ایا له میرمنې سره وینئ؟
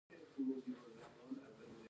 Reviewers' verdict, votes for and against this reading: rejected, 0, 3